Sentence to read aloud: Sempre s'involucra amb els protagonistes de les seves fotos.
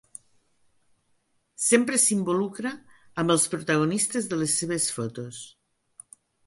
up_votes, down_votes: 2, 0